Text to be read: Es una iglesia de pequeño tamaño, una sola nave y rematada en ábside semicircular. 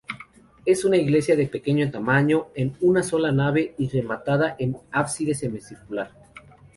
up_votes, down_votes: 2, 2